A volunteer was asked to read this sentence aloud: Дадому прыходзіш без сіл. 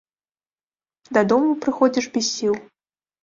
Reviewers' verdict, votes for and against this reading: rejected, 1, 2